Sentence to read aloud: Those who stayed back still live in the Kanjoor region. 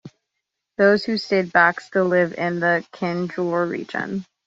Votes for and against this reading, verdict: 2, 0, accepted